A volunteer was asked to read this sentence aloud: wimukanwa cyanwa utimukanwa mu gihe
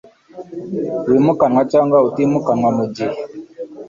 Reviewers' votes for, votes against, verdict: 3, 0, accepted